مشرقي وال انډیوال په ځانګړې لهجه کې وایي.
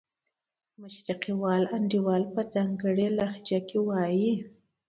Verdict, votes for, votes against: accepted, 2, 0